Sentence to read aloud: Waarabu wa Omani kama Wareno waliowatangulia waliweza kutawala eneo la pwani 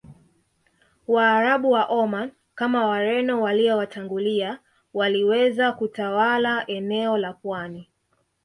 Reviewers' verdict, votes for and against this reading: accepted, 2, 0